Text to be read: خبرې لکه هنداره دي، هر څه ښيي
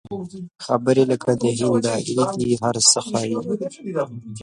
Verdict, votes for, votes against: rejected, 1, 2